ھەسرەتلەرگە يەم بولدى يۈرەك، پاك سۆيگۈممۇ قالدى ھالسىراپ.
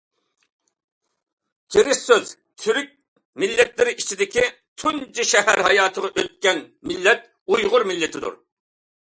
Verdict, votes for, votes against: rejected, 0, 2